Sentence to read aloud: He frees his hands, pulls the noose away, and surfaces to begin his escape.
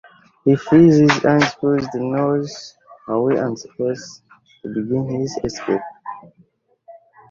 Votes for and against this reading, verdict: 0, 2, rejected